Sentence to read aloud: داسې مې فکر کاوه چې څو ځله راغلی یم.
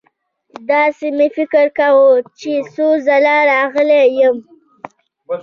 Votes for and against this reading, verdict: 2, 0, accepted